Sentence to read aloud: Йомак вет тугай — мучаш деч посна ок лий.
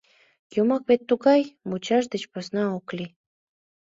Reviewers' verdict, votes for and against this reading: accepted, 2, 0